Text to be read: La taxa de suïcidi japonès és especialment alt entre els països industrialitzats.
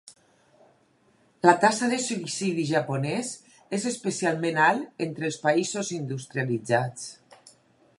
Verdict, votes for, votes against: rejected, 0, 2